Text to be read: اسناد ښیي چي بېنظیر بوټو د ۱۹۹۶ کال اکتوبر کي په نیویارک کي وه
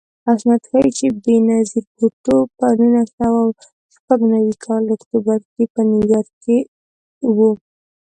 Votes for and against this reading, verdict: 0, 2, rejected